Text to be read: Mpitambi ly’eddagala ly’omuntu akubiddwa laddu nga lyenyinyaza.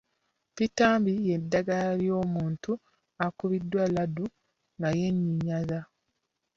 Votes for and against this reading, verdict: 0, 2, rejected